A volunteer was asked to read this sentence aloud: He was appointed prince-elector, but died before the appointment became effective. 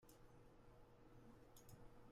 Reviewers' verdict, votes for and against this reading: rejected, 0, 2